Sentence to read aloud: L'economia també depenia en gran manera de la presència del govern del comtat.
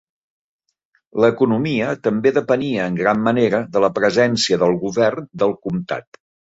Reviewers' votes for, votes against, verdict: 4, 0, accepted